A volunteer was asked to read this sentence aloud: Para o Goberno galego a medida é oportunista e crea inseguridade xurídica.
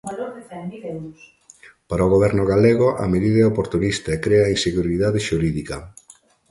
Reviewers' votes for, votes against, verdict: 2, 1, accepted